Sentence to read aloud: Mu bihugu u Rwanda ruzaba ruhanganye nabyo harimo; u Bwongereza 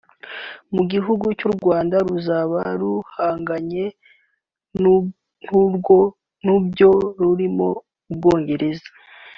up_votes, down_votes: 0, 3